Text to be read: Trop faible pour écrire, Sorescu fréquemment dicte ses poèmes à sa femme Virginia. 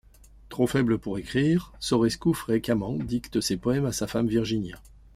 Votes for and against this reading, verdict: 2, 0, accepted